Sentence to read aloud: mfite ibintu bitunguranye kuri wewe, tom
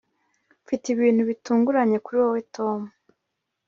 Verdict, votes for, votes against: accepted, 3, 0